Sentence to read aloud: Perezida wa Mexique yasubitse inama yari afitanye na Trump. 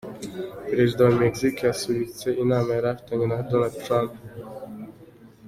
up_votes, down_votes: 1, 2